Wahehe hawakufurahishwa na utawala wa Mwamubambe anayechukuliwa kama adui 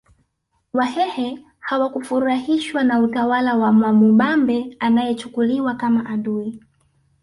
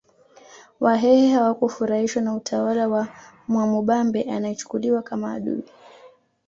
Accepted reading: second